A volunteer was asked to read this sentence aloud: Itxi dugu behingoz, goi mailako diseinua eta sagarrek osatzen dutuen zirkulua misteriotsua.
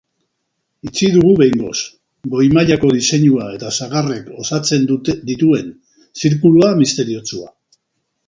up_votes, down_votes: 0, 2